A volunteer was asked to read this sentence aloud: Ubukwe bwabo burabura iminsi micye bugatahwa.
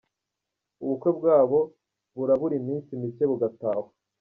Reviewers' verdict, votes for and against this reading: accepted, 2, 0